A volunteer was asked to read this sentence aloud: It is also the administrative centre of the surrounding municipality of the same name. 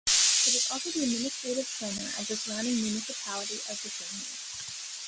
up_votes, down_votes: 1, 2